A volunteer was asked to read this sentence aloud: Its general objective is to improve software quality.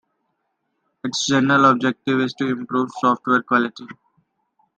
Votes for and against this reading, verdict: 2, 0, accepted